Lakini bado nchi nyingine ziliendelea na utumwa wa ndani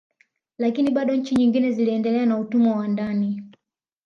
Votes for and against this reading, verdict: 0, 2, rejected